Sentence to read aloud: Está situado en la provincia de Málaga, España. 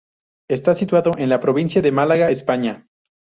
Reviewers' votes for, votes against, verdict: 2, 2, rejected